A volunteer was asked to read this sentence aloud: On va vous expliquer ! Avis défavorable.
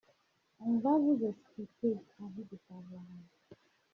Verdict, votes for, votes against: rejected, 0, 2